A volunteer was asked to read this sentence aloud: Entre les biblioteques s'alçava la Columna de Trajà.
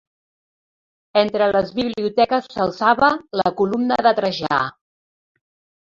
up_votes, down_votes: 1, 2